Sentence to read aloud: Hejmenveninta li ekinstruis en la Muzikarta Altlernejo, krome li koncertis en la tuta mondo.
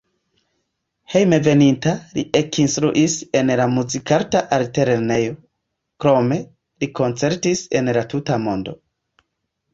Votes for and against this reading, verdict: 0, 2, rejected